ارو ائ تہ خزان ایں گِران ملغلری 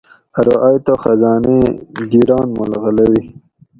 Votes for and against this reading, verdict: 4, 0, accepted